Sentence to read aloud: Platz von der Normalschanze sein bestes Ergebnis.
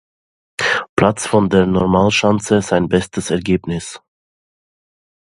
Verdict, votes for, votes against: accepted, 2, 0